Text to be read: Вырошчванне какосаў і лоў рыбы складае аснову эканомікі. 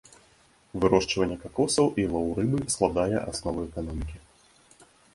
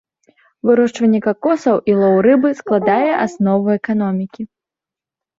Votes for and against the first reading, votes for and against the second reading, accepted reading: 2, 0, 0, 2, first